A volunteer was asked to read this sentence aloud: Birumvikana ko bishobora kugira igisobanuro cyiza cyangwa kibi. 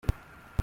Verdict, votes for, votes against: rejected, 0, 2